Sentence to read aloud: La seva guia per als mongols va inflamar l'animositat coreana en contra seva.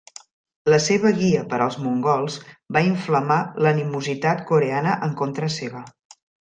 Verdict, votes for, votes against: accepted, 2, 0